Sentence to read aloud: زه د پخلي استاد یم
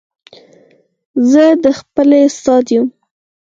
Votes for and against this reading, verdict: 4, 2, accepted